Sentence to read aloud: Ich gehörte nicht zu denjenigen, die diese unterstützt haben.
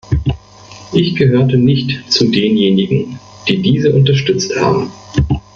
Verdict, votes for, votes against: rejected, 1, 2